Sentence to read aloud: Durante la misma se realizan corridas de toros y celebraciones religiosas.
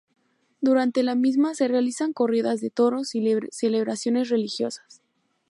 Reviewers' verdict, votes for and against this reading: rejected, 0, 2